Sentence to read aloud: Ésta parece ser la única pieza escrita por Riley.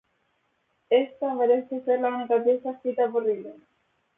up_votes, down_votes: 2, 0